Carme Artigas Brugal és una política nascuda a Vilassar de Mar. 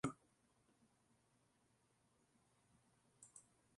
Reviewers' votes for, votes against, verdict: 0, 2, rejected